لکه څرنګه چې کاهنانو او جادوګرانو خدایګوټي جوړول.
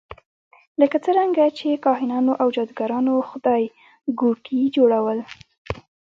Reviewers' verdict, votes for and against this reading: accepted, 2, 0